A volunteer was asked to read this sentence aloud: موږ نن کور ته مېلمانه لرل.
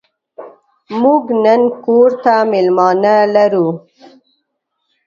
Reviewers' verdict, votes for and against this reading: rejected, 1, 2